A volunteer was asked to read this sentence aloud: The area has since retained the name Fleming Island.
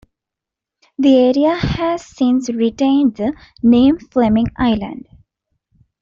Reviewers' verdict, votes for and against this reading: accepted, 2, 0